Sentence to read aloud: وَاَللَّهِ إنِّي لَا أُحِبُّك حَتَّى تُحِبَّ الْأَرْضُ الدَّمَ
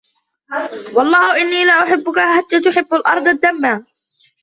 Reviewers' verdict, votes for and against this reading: rejected, 1, 2